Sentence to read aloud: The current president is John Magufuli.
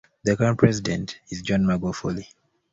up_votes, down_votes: 1, 2